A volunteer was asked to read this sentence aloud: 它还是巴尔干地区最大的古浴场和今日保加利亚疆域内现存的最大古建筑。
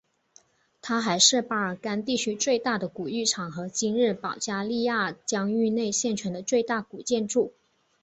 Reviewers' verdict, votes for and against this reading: accepted, 2, 0